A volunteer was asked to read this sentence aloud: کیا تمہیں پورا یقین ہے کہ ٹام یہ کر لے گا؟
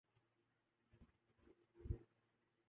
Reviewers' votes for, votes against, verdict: 0, 2, rejected